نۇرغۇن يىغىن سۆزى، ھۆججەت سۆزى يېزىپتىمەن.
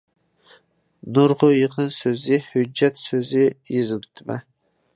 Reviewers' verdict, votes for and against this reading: rejected, 0, 2